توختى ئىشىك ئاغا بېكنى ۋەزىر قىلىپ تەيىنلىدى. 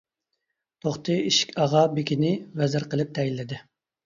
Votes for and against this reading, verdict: 1, 2, rejected